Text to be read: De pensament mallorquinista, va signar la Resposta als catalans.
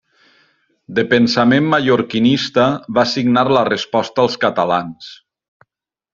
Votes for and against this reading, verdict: 3, 0, accepted